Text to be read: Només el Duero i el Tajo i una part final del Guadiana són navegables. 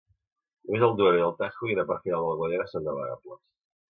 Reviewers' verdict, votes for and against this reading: rejected, 0, 2